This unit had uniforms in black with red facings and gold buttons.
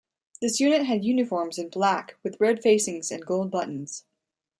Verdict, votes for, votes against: accepted, 2, 0